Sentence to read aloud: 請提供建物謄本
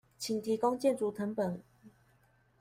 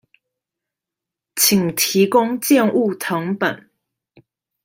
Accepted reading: second